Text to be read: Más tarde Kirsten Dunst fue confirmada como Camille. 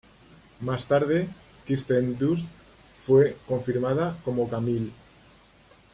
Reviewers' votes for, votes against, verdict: 2, 0, accepted